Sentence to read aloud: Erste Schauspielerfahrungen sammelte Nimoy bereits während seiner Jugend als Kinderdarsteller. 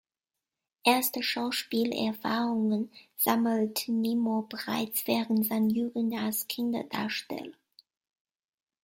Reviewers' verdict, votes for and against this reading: rejected, 0, 2